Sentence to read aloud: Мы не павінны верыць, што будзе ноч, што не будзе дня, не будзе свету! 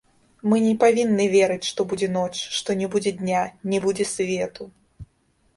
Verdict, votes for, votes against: rejected, 0, 2